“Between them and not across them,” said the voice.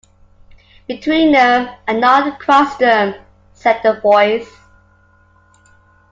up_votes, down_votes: 2, 0